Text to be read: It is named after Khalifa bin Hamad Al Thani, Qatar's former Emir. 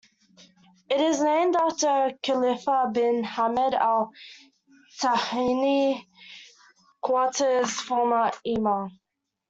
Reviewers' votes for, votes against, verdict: 0, 2, rejected